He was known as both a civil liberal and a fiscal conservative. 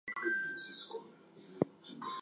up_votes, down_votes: 0, 2